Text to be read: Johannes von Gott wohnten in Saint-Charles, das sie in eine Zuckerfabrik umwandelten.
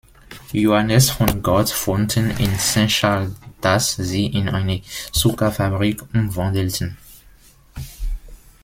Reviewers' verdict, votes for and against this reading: rejected, 1, 2